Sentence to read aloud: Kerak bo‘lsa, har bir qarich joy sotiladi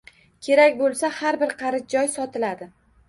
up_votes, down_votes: 2, 1